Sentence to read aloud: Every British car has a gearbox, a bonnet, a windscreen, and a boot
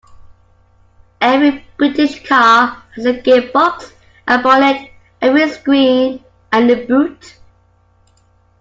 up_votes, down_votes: 2, 0